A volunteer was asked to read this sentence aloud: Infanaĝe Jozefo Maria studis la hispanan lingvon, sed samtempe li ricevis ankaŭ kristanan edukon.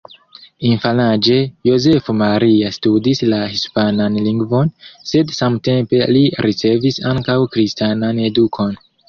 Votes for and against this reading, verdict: 1, 2, rejected